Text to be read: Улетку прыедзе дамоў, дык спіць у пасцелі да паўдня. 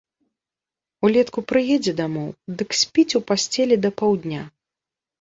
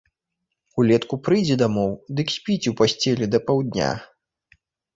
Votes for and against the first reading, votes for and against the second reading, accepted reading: 2, 0, 0, 2, first